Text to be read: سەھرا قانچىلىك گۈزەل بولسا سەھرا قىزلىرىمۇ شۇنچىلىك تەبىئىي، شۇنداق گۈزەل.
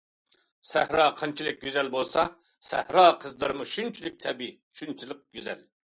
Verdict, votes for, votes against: rejected, 0, 2